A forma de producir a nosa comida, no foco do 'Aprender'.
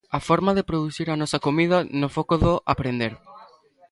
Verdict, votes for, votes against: accepted, 2, 0